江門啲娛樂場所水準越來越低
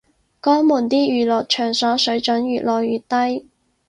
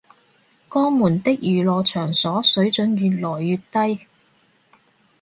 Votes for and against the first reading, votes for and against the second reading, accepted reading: 4, 0, 0, 2, first